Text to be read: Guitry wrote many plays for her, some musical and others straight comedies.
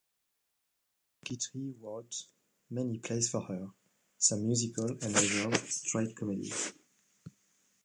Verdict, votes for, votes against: rejected, 1, 2